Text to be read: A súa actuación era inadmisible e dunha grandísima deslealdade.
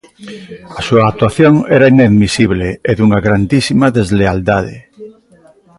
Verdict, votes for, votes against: rejected, 1, 2